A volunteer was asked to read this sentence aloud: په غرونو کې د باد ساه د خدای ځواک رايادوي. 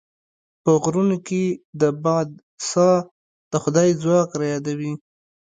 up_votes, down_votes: 2, 0